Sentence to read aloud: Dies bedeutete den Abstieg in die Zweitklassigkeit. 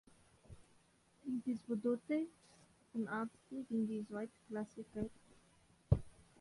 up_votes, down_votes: 0, 2